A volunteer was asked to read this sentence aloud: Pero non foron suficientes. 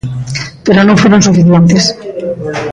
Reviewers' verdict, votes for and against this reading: rejected, 1, 2